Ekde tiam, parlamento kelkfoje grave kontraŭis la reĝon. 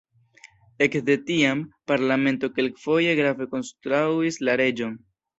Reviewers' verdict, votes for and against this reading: rejected, 1, 2